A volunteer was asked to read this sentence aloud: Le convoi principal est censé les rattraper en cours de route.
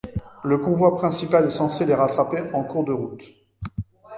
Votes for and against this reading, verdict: 2, 0, accepted